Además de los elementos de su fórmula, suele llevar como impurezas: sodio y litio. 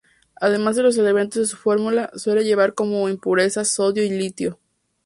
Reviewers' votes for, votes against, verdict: 2, 0, accepted